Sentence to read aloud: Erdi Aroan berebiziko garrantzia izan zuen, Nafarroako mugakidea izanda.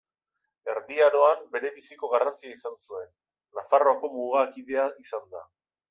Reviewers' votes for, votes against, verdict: 2, 0, accepted